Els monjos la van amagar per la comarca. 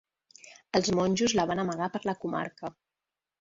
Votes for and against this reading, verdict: 3, 1, accepted